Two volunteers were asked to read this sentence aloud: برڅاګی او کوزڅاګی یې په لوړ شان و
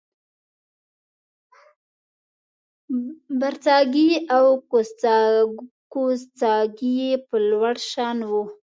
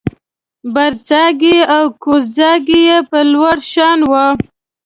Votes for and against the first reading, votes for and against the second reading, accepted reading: 0, 2, 2, 1, second